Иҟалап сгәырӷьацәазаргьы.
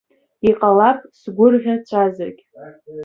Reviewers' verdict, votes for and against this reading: rejected, 0, 3